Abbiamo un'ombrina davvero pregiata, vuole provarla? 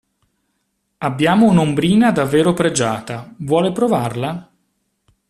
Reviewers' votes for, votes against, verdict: 2, 0, accepted